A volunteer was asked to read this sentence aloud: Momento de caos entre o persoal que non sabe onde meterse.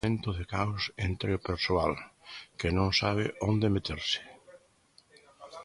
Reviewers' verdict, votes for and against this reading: rejected, 0, 2